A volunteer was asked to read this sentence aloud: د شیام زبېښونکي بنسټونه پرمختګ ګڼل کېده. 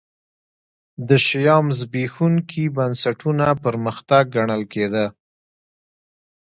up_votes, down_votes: 1, 2